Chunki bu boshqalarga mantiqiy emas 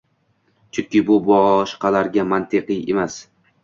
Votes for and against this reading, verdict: 2, 0, accepted